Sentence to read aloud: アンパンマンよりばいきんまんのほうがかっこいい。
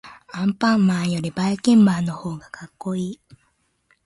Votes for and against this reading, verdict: 1, 2, rejected